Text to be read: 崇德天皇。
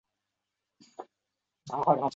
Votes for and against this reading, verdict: 0, 2, rejected